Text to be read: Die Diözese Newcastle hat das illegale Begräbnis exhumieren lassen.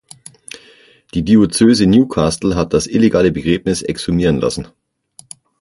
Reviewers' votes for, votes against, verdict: 6, 0, accepted